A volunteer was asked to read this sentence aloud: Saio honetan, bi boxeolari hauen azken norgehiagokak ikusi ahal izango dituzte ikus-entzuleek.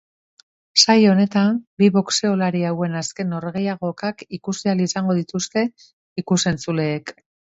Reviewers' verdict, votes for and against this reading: accepted, 2, 0